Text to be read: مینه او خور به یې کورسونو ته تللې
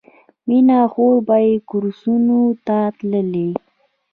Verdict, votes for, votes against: accepted, 2, 0